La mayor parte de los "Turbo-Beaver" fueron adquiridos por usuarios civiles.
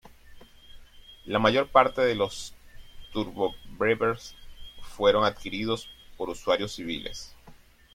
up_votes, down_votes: 0, 2